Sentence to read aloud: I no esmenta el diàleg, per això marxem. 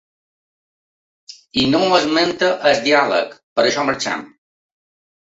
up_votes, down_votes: 2, 3